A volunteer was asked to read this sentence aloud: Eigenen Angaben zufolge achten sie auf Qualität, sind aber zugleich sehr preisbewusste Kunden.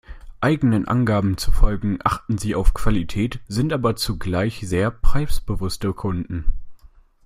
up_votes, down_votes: 1, 2